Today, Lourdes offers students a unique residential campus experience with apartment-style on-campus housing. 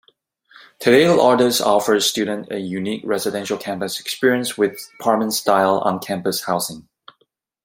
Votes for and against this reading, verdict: 1, 2, rejected